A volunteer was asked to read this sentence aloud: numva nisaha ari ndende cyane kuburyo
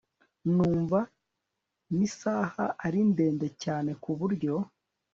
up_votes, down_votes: 3, 0